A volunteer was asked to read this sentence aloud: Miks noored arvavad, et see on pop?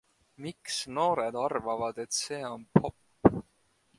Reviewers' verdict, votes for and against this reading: accepted, 2, 0